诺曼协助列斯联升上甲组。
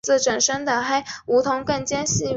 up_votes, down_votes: 0, 2